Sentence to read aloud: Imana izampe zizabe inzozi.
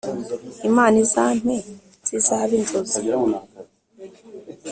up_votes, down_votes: 2, 0